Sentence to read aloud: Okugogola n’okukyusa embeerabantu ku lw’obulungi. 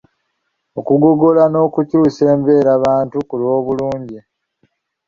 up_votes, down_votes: 2, 0